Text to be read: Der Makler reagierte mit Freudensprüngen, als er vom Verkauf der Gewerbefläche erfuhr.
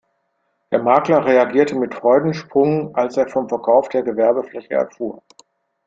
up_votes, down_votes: 0, 2